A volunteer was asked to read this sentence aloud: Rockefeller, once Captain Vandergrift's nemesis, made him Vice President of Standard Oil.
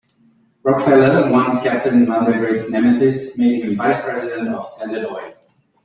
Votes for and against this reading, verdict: 0, 2, rejected